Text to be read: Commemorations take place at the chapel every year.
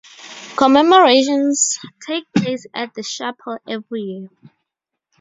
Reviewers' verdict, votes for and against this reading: rejected, 0, 2